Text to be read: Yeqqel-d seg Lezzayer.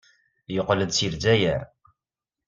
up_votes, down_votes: 2, 0